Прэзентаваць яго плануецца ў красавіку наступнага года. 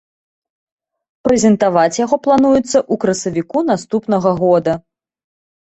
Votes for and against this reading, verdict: 2, 0, accepted